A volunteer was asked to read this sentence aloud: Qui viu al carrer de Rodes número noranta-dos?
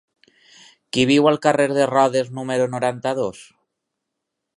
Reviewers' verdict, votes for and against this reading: accepted, 6, 0